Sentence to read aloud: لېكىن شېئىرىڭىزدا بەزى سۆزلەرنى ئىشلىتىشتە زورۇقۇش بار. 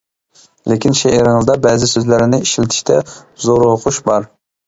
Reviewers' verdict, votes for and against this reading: rejected, 1, 2